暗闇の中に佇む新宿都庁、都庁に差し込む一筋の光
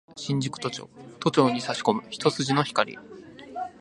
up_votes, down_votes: 0, 3